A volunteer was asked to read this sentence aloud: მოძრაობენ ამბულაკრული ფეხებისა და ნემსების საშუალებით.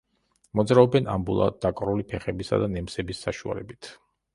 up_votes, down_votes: 0, 2